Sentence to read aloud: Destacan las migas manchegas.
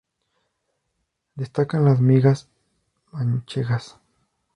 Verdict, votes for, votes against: rejected, 0, 2